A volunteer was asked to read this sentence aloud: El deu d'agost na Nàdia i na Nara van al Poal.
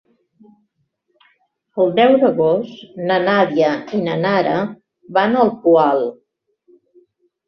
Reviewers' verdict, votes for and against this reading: accepted, 3, 0